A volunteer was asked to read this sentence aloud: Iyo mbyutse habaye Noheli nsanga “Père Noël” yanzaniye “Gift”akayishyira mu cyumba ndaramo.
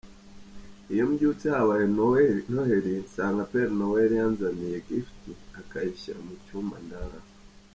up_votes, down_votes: 1, 3